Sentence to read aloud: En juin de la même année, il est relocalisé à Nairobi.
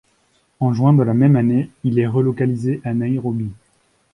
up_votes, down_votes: 1, 2